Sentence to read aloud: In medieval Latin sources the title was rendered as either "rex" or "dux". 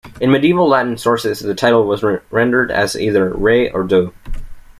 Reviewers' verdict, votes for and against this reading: rejected, 1, 2